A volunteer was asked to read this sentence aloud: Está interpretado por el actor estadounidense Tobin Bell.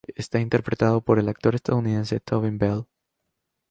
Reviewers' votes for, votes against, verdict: 2, 0, accepted